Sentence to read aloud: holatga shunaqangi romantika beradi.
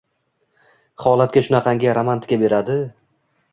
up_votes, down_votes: 0, 2